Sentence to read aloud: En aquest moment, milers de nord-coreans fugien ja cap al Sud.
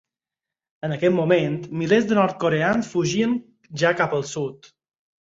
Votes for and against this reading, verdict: 4, 0, accepted